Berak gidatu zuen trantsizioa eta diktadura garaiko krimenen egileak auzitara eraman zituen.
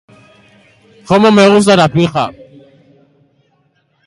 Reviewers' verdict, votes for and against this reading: rejected, 0, 3